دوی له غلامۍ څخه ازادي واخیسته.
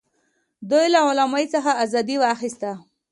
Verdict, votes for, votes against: accepted, 2, 0